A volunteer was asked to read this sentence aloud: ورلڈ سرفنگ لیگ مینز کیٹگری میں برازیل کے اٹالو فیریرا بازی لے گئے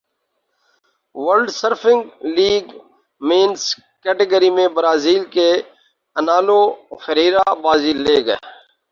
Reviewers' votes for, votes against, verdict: 2, 2, rejected